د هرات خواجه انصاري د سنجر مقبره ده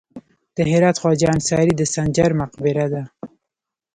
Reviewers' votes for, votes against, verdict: 1, 2, rejected